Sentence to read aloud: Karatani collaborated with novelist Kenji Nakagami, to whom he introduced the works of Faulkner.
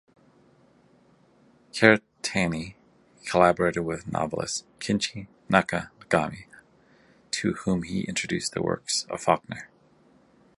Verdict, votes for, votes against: rejected, 0, 2